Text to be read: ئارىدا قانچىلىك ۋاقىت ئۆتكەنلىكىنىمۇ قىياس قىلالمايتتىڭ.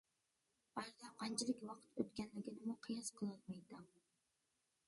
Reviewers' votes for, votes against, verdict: 0, 2, rejected